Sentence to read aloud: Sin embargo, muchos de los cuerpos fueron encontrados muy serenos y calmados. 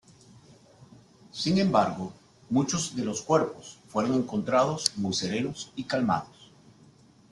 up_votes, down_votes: 2, 0